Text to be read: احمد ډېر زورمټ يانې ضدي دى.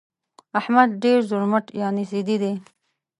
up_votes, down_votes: 2, 0